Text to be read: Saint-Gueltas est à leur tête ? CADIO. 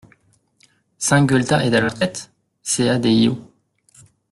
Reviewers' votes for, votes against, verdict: 1, 2, rejected